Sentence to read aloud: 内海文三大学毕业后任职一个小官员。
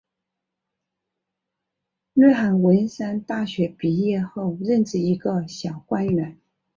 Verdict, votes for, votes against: accepted, 5, 0